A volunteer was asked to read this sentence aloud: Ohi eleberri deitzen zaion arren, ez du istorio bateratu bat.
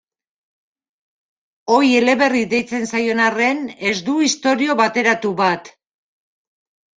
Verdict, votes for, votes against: accepted, 2, 0